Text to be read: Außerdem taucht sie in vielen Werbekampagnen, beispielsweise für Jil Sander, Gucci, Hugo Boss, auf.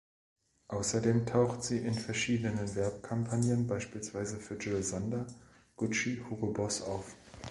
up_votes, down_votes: 1, 2